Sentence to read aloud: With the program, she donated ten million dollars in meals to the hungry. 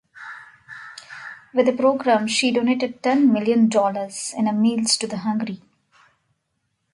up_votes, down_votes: 2, 1